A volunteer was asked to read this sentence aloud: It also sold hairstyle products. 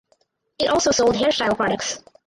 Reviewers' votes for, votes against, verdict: 2, 4, rejected